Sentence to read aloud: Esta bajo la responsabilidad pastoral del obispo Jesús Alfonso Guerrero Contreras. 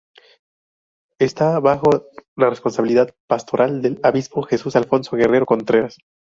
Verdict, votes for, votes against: rejected, 0, 4